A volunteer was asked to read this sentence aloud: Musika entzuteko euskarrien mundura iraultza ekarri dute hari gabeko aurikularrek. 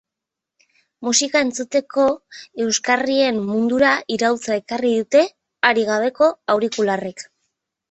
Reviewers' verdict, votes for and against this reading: accepted, 8, 2